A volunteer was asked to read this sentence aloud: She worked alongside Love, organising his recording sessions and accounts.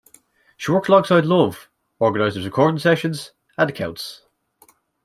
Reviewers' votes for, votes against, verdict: 1, 2, rejected